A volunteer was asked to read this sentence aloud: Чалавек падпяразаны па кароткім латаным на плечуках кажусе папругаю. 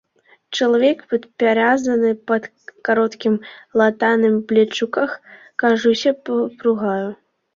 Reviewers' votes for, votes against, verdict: 1, 2, rejected